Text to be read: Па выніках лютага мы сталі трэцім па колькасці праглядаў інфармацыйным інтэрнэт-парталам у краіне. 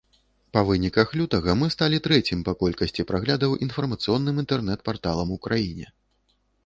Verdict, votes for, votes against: rejected, 0, 3